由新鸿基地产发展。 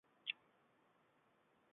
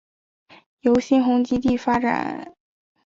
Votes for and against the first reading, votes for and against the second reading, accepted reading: 0, 4, 2, 0, second